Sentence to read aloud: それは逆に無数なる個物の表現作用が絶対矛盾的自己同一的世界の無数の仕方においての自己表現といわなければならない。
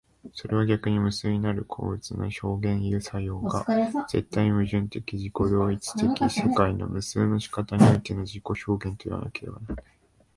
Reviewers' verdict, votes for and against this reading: rejected, 0, 2